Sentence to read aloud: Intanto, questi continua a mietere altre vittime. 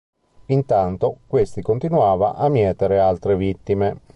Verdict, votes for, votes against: rejected, 1, 2